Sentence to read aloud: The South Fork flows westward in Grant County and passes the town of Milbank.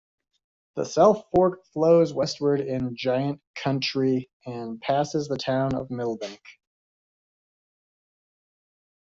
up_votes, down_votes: 1, 2